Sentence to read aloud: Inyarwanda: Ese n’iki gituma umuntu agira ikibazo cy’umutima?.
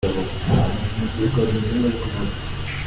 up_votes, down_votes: 0, 2